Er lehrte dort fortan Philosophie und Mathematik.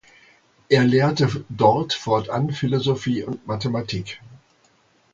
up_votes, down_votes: 2, 1